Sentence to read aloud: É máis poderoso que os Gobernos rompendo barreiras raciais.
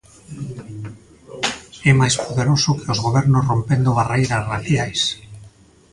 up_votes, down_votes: 1, 2